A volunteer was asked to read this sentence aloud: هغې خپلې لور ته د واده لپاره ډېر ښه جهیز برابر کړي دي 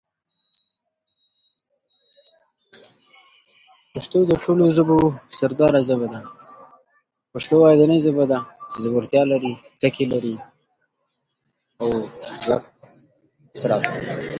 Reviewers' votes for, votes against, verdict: 0, 2, rejected